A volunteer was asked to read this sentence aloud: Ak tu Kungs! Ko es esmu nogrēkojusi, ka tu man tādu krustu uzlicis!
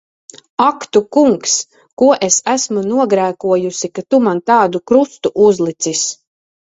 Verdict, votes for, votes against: rejected, 1, 2